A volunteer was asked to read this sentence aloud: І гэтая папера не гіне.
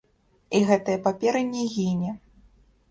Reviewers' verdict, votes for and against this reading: rejected, 0, 2